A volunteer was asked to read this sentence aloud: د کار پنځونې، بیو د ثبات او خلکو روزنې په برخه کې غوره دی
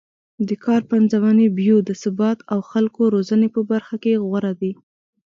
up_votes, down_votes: 2, 0